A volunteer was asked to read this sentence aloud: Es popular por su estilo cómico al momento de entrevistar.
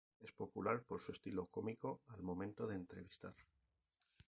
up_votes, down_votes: 0, 2